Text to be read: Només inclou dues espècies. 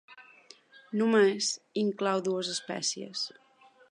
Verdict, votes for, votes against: accepted, 2, 0